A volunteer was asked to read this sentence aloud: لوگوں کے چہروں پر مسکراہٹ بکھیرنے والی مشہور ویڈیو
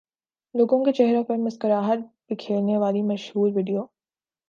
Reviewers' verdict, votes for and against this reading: accepted, 2, 0